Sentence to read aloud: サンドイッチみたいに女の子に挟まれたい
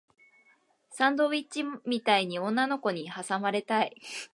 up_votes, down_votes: 0, 2